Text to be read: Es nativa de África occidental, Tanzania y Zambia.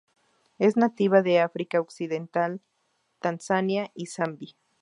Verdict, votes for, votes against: rejected, 2, 2